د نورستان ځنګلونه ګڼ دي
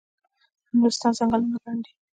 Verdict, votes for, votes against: rejected, 1, 2